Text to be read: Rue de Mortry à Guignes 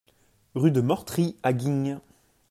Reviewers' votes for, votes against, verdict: 4, 0, accepted